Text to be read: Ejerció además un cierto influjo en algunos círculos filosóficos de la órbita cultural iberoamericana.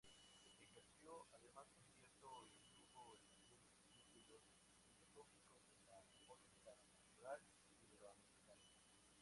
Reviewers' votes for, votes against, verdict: 0, 4, rejected